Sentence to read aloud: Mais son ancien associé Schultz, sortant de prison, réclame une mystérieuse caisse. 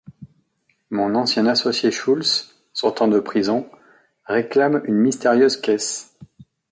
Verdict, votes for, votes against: rejected, 0, 3